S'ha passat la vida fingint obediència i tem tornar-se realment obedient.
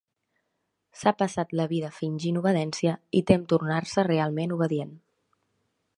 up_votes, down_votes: 1, 2